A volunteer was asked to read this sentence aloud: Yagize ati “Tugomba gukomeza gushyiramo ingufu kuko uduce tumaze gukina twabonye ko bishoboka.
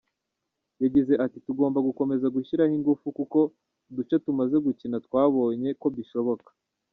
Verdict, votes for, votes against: accepted, 2, 0